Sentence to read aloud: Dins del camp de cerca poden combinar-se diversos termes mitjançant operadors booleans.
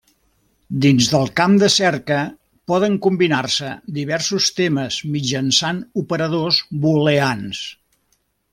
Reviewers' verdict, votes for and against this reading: accepted, 2, 1